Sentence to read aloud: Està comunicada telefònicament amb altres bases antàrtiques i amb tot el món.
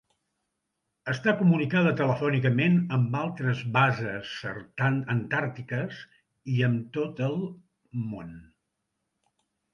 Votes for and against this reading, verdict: 0, 2, rejected